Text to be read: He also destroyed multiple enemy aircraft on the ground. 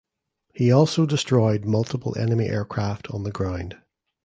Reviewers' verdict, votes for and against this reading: accepted, 2, 0